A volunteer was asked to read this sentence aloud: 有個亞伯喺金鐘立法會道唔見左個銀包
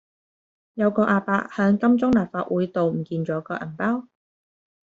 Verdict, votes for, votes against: rejected, 1, 2